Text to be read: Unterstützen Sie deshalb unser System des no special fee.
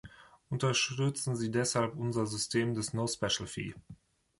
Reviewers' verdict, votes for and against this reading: accepted, 2, 0